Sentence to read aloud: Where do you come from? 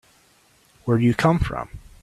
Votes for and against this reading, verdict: 3, 0, accepted